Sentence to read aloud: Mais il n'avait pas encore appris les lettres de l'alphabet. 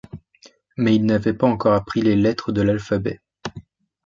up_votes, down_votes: 2, 0